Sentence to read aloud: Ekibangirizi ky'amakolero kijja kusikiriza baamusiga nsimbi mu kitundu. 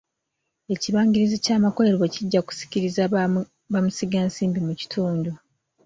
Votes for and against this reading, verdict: 0, 3, rejected